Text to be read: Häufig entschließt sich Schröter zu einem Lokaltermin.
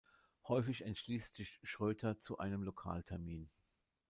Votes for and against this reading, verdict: 1, 2, rejected